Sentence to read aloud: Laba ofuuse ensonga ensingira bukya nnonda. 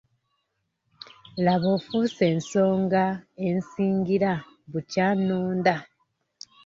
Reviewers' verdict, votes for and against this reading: rejected, 0, 2